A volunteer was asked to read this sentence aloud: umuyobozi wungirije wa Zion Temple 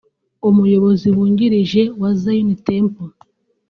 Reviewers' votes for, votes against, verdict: 2, 0, accepted